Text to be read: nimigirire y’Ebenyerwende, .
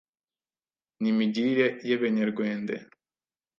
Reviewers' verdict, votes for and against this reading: rejected, 1, 2